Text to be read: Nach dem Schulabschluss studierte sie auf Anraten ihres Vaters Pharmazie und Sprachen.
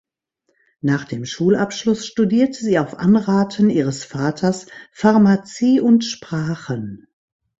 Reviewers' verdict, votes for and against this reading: accepted, 2, 0